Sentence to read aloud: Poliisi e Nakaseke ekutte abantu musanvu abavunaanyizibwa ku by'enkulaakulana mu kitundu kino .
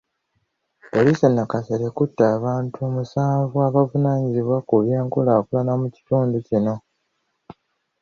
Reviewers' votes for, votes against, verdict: 1, 2, rejected